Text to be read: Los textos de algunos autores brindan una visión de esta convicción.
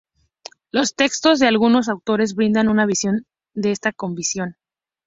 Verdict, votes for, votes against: accepted, 4, 0